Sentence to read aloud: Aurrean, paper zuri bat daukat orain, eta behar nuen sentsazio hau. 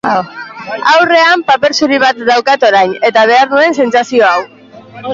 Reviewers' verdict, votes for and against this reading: rejected, 0, 2